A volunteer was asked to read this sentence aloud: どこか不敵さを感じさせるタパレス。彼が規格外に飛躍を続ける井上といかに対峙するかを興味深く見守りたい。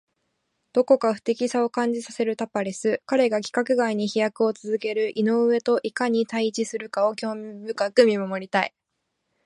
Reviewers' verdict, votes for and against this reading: accepted, 2, 1